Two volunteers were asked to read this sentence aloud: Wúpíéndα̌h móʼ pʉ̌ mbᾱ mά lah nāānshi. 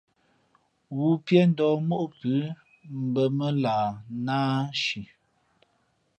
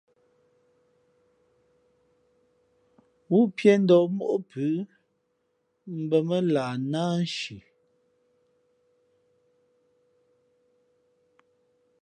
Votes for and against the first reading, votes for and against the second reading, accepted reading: 2, 0, 0, 2, first